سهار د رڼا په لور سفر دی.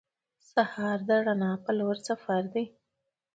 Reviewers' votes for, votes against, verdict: 2, 0, accepted